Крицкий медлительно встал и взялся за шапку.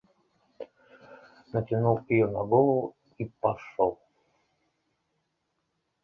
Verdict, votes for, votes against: rejected, 0, 2